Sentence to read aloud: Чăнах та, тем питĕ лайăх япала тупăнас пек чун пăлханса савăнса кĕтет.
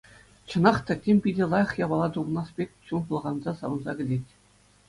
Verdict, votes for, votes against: accepted, 2, 0